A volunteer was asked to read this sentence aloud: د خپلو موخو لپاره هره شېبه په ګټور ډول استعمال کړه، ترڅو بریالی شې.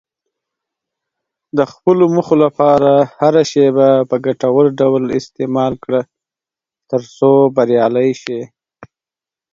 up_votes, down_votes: 8, 0